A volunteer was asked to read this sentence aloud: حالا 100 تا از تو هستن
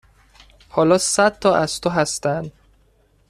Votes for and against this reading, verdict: 0, 2, rejected